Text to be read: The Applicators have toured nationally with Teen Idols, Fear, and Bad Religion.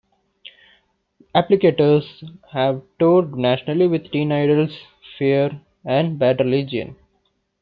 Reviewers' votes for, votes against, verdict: 0, 2, rejected